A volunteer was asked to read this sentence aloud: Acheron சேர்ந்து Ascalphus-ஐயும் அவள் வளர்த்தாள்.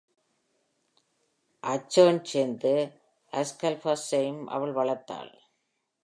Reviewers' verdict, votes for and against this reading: accepted, 2, 0